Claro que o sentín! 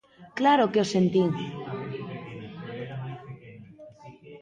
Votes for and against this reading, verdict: 1, 2, rejected